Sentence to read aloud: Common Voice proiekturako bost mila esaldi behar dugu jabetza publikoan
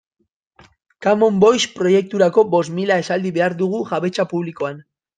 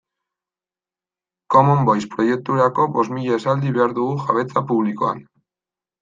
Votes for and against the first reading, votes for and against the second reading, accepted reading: 2, 2, 2, 0, second